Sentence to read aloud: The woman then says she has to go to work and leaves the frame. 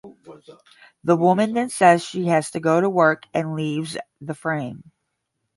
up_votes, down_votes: 10, 0